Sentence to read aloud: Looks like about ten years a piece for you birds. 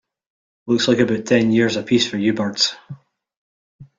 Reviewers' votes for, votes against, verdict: 2, 1, accepted